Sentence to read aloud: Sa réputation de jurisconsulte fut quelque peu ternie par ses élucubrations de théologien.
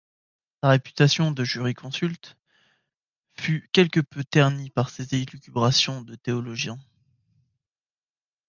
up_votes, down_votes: 1, 2